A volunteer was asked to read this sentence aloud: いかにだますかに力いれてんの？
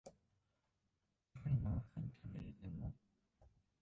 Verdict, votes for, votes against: rejected, 0, 2